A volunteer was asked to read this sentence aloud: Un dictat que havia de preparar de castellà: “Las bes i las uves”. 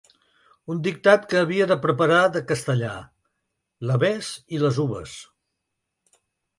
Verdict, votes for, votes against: rejected, 1, 2